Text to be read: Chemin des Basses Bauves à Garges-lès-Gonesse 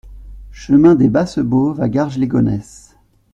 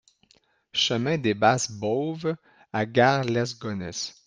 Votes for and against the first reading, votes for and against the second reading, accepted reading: 2, 0, 1, 2, first